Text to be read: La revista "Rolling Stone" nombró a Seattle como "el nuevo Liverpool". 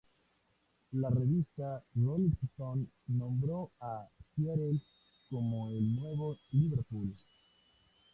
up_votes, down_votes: 0, 2